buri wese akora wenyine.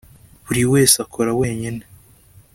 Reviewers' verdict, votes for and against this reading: accepted, 2, 0